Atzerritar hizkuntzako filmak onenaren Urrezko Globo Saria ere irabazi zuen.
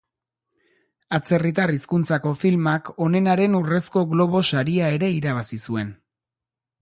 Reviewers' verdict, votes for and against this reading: accepted, 2, 0